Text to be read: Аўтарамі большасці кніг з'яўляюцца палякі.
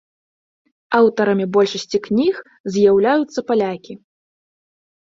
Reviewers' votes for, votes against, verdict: 2, 0, accepted